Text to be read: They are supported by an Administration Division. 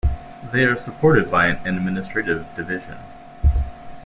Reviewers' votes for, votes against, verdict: 2, 3, rejected